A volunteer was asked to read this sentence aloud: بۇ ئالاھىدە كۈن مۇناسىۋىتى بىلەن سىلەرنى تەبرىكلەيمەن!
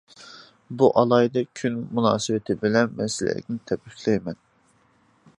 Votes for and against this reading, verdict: 0, 2, rejected